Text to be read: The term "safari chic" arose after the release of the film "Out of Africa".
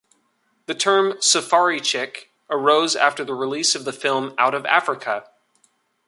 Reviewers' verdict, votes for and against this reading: accepted, 2, 0